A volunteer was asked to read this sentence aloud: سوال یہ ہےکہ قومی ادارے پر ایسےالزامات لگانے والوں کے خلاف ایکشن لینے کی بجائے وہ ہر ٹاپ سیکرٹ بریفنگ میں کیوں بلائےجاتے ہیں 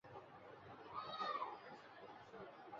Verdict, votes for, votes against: rejected, 0, 2